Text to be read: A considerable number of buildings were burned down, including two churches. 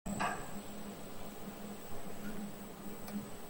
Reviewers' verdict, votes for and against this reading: rejected, 0, 2